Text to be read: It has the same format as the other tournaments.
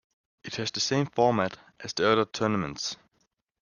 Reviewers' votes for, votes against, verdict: 2, 0, accepted